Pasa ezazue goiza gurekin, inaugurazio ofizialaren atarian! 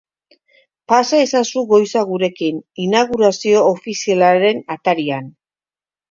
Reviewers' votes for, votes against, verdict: 2, 0, accepted